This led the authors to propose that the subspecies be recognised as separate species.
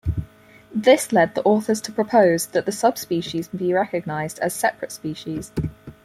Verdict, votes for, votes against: accepted, 4, 0